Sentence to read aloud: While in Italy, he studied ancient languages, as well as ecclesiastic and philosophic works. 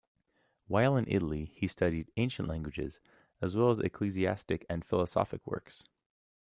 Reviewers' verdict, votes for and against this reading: accepted, 2, 0